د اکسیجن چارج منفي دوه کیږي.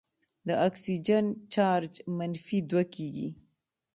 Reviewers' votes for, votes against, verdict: 2, 0, accepted